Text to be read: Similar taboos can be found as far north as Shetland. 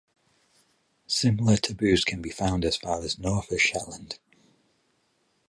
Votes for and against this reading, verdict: 4, 4, rejected